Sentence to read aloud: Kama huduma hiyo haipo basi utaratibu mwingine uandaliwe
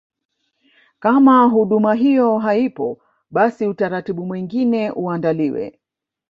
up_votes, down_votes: 0, 2